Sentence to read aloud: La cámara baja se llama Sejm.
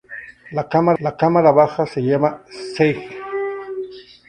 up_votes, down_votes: 0, 4